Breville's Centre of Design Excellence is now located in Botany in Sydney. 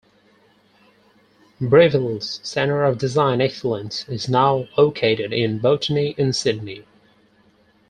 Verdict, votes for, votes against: accepted, 4, 0